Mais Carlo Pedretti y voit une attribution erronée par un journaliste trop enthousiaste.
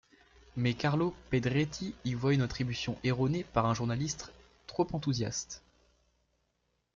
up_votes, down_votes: 0, 2